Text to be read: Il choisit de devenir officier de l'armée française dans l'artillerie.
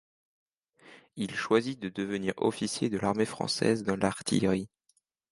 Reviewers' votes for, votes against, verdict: 2, 0, accepted